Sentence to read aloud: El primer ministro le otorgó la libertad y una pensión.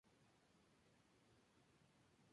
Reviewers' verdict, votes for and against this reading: rejected, 0, 4